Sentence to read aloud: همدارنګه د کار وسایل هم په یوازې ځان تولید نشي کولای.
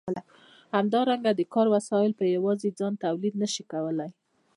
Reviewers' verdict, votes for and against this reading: rejected, 0, 2